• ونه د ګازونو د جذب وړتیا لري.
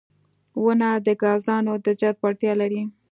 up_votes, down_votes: 2, 0